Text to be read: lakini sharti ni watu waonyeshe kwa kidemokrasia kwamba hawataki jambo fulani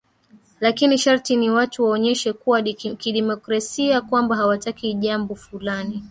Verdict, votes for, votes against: rejected, 2, 3